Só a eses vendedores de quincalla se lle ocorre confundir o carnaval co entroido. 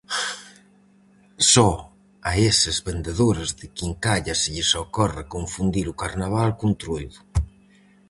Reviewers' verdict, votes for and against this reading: rejected, 0, 4